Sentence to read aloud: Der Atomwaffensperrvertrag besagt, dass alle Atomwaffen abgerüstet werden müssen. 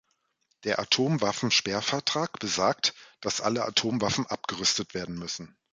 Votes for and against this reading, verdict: 2, 0, accepted